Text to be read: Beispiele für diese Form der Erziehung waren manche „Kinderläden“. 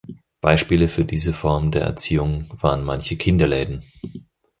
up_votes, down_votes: 4, 0